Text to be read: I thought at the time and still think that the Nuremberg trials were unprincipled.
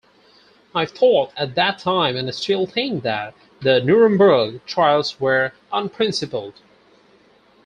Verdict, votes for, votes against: accepted, 4, 0